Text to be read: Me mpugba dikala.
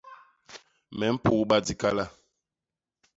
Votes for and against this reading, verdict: 2, 0, accepted